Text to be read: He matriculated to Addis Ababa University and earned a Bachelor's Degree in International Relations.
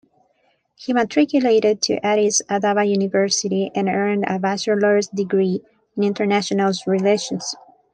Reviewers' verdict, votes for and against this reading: accepted, 2, 1